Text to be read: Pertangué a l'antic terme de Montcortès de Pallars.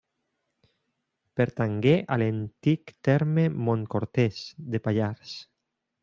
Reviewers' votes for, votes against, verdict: 0, 2, rejected